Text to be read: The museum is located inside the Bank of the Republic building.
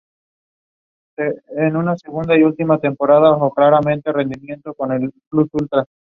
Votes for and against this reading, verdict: 0, 4, rejected